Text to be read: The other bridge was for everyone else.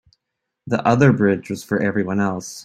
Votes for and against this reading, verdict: 3, 0, accepted